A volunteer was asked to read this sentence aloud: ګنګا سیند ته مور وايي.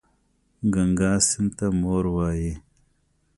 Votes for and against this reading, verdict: 2, 0, accepted